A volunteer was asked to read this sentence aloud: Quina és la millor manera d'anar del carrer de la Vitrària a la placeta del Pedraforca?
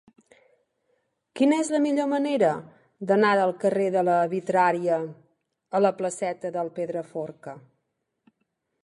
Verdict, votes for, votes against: accepted, 3, 0